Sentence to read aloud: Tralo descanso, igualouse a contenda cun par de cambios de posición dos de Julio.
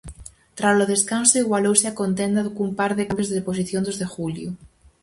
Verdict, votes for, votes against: rejected, 0, 4